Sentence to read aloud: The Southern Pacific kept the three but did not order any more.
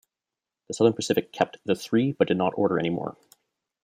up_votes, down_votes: 1, 2